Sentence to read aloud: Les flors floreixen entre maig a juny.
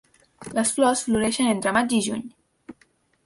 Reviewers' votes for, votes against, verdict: 1, 2, rejected